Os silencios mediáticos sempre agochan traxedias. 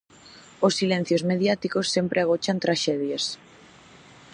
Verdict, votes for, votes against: accepted, 2, 0